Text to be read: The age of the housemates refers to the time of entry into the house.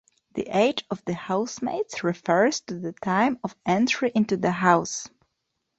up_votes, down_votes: 2, 0